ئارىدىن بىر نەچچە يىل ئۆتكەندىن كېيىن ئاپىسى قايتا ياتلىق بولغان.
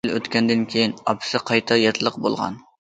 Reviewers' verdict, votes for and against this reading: rejected, 0, 2